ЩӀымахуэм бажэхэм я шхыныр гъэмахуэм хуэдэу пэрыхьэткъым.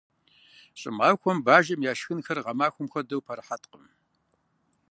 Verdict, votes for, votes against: accepted, 2, 0